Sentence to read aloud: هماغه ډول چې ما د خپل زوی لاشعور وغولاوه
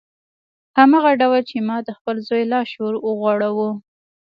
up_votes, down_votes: 1, 2